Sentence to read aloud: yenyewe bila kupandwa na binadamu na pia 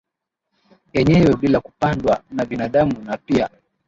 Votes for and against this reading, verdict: 1, 2, rejected